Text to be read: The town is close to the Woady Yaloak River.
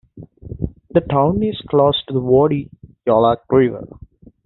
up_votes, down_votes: 2, 1